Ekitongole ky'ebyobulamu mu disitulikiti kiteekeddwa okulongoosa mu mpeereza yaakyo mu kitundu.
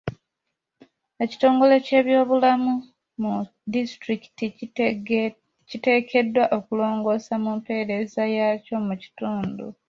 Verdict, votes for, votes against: rejected, 1, 2